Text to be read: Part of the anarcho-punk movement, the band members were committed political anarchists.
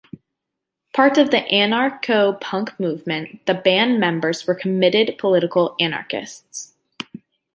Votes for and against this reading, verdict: 2, 0, accepted